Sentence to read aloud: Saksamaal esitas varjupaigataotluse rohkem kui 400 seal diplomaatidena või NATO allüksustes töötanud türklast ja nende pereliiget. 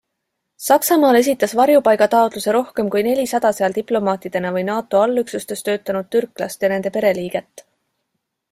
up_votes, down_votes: 0, 2